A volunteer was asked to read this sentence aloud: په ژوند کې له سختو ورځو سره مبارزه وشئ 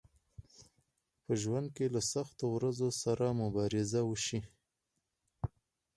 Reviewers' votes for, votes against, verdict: 2, 4, rejected